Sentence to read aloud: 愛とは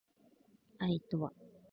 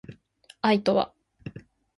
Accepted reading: second